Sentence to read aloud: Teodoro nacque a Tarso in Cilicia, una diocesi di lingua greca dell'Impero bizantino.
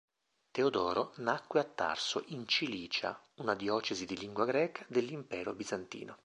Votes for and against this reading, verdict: 3, 0, accepted